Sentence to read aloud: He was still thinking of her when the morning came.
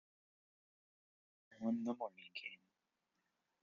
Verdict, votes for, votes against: rejected, 0, 2